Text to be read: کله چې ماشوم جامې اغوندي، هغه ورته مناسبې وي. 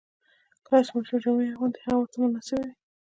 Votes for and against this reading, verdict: 2, 1, accepted